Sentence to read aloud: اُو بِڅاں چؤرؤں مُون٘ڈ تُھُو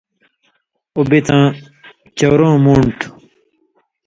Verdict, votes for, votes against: accepted, 3, 0